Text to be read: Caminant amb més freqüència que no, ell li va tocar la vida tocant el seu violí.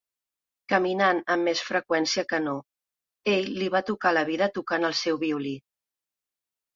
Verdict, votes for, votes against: accepted, 2, 0